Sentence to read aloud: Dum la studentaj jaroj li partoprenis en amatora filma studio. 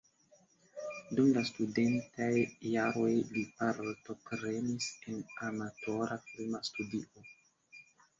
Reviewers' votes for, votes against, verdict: 1, 2, rejected